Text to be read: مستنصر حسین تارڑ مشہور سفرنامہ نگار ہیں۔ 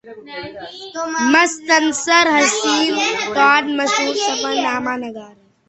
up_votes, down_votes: 1, 2